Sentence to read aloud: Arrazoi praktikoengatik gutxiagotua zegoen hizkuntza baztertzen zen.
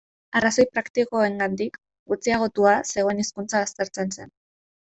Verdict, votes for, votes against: accepted, 2, 1